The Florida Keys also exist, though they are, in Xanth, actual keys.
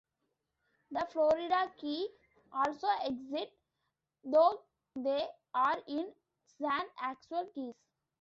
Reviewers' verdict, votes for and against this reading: rejected, 0, 2